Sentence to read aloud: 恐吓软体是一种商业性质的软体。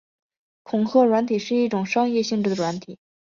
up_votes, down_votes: 5, 1